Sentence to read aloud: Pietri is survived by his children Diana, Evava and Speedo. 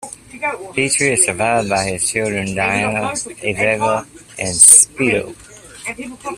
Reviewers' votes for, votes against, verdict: 1, 2, rejected